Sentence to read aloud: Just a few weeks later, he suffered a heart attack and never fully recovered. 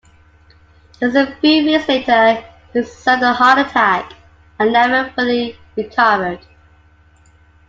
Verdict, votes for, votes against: accepted, 2, 0